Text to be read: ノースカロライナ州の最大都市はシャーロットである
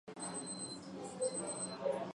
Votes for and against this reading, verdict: 0, 2, rejected